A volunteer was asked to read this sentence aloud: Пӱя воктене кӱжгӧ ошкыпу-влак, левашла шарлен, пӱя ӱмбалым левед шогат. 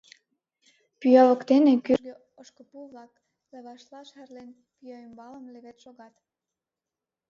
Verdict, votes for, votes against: rejected, 2, 4